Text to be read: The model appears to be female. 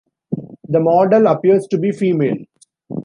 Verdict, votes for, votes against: accepted, 2, 0